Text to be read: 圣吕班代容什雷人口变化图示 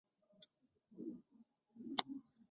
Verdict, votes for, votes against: rejected, 0, 3